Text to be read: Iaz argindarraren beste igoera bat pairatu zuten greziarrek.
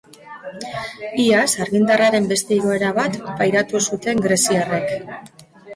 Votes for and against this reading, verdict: 1, 2, rejected